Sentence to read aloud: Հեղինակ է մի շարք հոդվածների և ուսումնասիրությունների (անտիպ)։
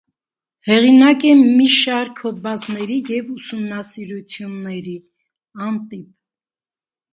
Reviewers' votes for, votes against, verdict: 1, 2, rejected